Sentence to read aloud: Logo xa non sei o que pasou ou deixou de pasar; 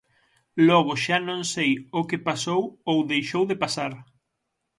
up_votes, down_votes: 6, 0